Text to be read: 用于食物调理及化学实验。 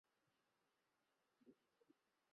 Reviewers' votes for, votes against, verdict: 0, 2, rejected